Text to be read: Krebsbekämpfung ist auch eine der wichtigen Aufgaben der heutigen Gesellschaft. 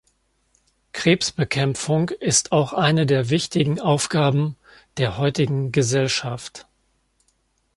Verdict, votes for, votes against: accepted, 2, 0